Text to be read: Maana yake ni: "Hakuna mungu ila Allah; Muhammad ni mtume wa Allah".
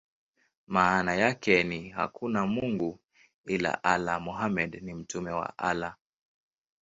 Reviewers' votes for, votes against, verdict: 2, 0, accepted